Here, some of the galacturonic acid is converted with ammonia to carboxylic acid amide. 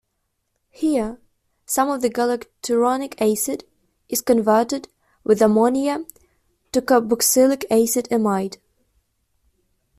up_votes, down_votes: 2, 1